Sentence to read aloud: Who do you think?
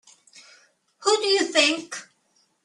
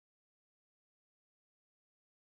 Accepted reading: first